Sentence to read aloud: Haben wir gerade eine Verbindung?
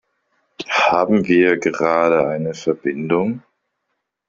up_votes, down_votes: 2, 0